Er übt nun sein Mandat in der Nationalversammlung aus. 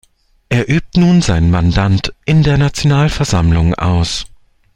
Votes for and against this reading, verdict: 0, 2, rejected